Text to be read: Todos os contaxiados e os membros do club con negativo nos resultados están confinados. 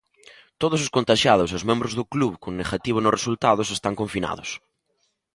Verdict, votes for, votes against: accepted, 2, 0